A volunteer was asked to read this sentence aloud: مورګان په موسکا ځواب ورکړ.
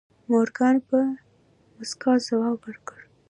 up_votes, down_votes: 2, 0